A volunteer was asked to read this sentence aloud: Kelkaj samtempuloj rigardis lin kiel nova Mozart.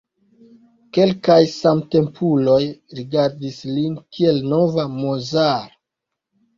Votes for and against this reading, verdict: 1, 2, rejected